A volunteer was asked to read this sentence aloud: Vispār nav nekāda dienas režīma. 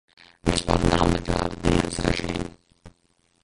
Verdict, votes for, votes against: rejected, 0, 2